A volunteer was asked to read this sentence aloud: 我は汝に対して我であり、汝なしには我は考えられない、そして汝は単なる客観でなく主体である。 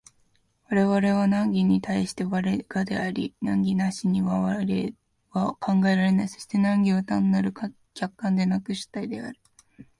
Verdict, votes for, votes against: rejected, 1, 2